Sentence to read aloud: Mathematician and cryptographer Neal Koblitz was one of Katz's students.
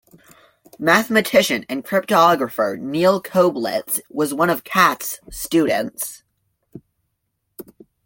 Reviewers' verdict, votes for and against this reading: accepted, 2, 1